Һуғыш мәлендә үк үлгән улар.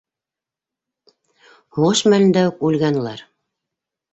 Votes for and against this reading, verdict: 3, 0, accepted